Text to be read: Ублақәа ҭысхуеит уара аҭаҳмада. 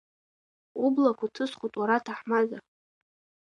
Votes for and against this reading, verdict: 2, 0, accepted